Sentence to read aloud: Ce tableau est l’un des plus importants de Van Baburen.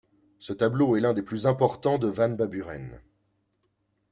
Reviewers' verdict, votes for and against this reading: accepted, 2, 0